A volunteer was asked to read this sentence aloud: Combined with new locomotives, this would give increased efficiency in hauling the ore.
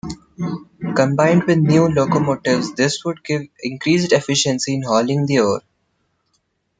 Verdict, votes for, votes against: rejected, 0, 2